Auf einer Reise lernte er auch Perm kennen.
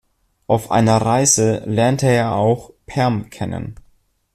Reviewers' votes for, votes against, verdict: 2, 0, accepted